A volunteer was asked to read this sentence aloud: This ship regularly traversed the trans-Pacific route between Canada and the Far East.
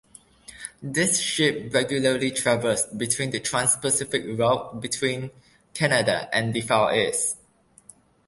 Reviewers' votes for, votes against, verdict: 1, 2, rejected